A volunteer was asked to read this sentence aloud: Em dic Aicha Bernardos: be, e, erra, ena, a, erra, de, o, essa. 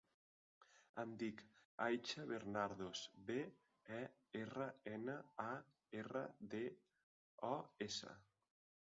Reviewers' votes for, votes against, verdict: 0, 2, rejected